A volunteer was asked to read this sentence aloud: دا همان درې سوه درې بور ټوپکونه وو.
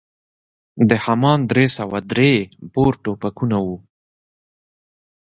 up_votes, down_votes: 1, 2